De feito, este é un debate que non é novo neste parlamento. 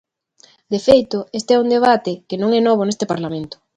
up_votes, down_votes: 2, 0